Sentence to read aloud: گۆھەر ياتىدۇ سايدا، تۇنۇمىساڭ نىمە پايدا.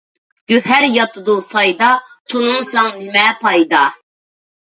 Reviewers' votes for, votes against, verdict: 2, 0, accepted